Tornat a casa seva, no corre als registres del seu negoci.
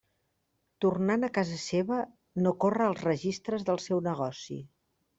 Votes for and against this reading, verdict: 0, 2, rejected